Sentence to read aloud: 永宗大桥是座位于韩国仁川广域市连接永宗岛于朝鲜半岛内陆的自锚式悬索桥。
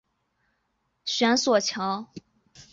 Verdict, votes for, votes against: accepted, 2, 1